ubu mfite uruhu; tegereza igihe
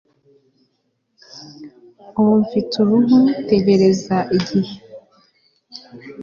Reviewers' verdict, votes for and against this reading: accepted, 2, 0